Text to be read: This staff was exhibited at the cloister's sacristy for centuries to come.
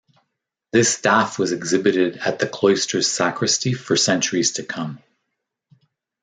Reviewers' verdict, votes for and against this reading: accepted, 2, 0